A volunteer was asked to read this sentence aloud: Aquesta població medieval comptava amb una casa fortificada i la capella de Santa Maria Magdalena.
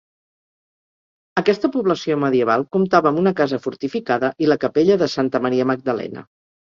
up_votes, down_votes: 2, 0